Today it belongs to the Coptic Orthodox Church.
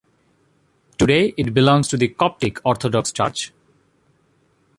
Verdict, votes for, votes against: accepted, 2, 0